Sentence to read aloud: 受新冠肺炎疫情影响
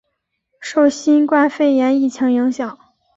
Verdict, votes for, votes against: accepted, 6, 0